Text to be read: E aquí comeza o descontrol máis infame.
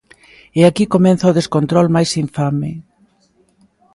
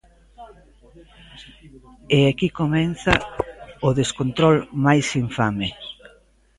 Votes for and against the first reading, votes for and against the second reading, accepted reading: 2, 1, 0, 2, first